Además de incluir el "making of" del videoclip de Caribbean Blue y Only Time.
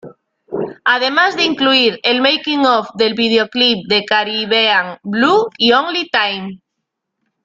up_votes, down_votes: 2, 1